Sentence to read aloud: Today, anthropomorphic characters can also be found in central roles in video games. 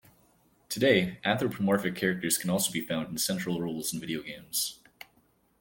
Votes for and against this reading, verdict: 2, 0, accepted